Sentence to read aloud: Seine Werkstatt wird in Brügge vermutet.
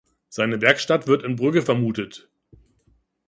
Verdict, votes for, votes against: accepted, 2, 0